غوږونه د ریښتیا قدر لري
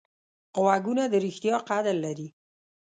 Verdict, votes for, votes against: accepted, 2, 0